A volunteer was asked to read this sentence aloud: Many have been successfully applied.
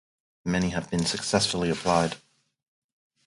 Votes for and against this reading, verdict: 4, 0, accepted